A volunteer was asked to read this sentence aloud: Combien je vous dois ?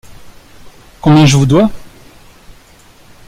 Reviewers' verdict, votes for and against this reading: accepted, 2, 0